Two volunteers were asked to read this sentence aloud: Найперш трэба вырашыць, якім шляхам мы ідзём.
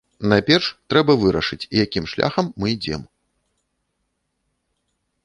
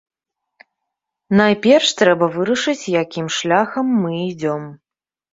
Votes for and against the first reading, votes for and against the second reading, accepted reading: 0, 2, 2, 0, second